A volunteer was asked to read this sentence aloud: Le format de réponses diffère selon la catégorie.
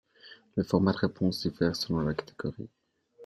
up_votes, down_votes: 0, 2